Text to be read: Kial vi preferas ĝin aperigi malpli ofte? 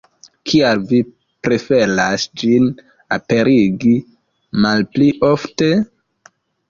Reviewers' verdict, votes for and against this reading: rejected, 0, 2